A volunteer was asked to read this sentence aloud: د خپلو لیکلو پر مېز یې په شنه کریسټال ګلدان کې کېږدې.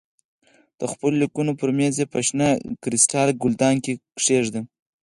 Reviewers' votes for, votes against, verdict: 4, 0, accepted